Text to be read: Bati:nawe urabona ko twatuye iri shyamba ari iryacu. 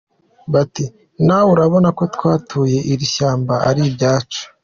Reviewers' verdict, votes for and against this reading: accepted, 2, 1